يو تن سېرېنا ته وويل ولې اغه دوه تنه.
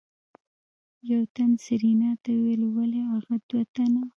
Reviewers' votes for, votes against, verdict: 1, 2, rejected